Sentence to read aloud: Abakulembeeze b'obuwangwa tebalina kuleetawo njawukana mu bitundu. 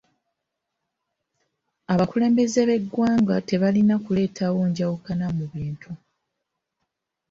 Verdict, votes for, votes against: rejected, 0, 2